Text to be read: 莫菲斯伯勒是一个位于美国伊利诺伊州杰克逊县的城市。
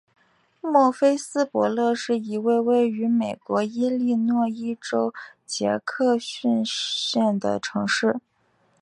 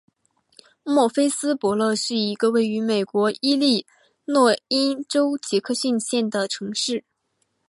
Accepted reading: first